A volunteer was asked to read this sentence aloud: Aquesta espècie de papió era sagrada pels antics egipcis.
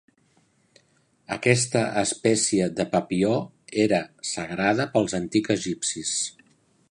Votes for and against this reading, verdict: 0, 2, rejected